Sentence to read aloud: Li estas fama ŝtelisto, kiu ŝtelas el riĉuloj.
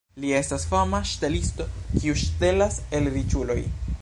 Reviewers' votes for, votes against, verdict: 2, 0, accepted